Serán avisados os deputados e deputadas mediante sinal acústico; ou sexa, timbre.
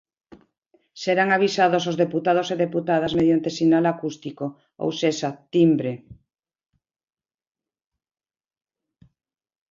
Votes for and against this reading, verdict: 2, 0, accepted